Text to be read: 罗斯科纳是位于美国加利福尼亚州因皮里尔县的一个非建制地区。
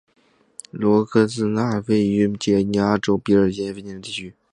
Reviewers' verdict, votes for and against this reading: rejected, 0, 3